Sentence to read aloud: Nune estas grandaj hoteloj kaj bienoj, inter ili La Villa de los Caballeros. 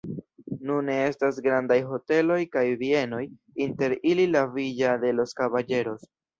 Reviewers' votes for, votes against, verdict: 1, 2, rejected